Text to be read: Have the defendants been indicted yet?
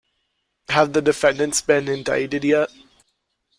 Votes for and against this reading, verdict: 2, 0, accepted